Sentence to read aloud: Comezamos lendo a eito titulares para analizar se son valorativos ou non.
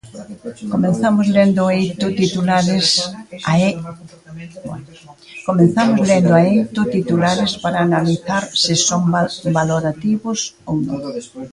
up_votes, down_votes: 0, 2